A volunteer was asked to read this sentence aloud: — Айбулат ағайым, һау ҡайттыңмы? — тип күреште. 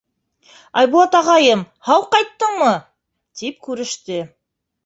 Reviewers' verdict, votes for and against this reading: accepted, 2, 0